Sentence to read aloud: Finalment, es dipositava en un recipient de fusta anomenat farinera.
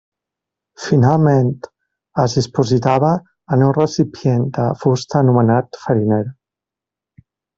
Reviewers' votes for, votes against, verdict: 1, 2, rejected